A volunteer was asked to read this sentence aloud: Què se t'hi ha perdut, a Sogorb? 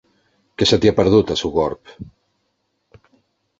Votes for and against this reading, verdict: 2, 0, accepted